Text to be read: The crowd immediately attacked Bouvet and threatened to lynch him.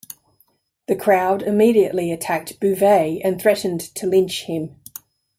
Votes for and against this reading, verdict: 2, 0, accepted